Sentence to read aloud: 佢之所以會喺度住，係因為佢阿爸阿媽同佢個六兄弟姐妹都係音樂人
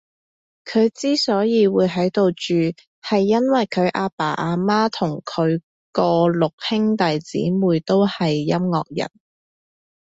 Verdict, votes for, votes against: rejected, 0, 2